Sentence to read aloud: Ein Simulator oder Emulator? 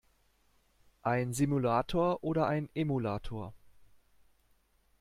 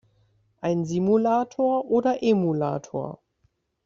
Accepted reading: second